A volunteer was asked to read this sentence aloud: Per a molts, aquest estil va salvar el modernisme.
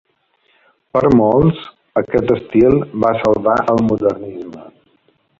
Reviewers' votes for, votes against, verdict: 2, 3, rejected